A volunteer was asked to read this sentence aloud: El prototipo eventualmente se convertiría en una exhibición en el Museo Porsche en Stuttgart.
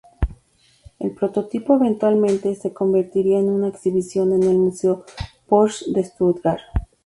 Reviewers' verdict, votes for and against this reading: accepted, 4, 0